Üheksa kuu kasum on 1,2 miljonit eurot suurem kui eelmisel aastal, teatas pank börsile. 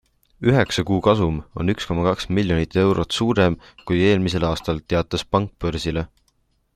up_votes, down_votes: 0, 2